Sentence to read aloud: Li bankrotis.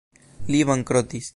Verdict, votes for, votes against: accepted, 2, 0